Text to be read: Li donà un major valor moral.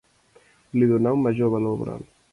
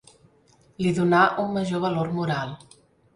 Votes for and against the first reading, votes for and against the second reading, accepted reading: 1, 2, 3, 0, second